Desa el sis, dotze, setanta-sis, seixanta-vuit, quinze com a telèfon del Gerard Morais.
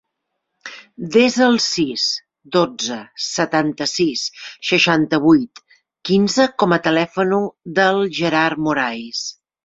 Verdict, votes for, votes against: rejected, 0, 2